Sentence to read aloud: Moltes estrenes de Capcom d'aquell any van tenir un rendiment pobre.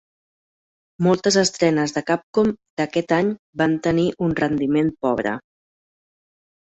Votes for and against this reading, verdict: 1, 2, rejected